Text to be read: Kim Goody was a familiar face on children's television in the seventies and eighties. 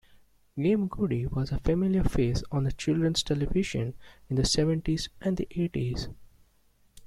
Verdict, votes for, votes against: rejected, 1, 2